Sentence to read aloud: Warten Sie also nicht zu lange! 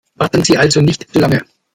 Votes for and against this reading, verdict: 2, 1, accepted